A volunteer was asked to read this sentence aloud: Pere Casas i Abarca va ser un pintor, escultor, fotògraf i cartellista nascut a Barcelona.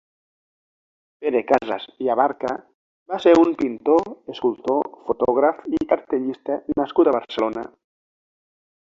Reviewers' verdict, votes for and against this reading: accepted, 2, 0